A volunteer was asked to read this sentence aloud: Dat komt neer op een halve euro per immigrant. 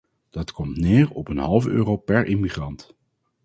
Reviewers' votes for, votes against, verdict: 4, 0, accepted